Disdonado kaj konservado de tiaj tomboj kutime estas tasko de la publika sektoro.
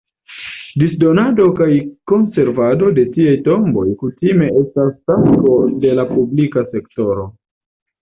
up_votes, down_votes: 2, 0